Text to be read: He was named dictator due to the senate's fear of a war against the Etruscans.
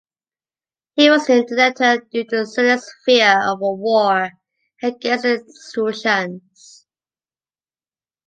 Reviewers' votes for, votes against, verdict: 1, 2, rejected